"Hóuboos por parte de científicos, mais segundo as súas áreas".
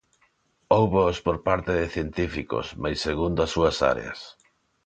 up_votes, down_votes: 2, 0